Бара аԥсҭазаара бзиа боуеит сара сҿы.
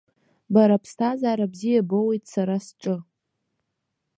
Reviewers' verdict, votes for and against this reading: accepted, 2, 1